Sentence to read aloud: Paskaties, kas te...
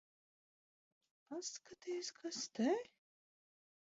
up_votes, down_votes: 2, 1